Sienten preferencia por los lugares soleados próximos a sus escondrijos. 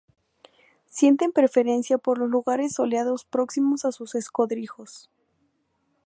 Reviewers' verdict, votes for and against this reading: rejected, 2, 2